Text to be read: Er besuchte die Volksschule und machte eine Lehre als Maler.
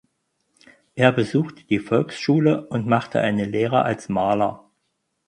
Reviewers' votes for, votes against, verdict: 4, 0, accepted